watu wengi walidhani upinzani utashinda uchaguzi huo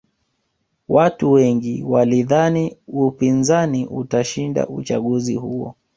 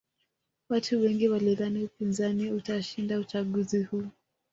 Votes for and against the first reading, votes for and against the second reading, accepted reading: 2, 0, 1, 2, first